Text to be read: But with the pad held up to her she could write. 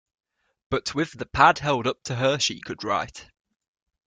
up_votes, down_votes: 2, 0